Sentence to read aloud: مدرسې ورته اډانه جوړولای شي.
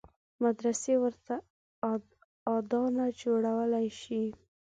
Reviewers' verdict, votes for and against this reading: rejected, 0, 3